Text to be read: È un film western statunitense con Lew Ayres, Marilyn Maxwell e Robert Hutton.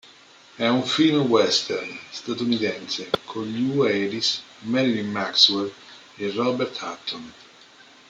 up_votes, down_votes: 2, 1